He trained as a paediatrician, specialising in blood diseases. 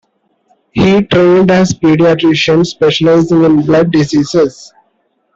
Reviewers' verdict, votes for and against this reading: rejected, 1, 2